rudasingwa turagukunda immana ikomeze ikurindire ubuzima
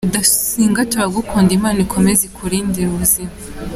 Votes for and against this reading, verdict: 2, 1, accepted